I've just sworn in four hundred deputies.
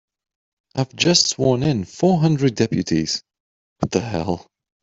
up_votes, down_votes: 0, 3